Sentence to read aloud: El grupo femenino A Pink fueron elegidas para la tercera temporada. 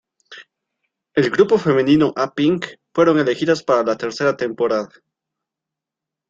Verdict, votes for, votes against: accepted, 2, 0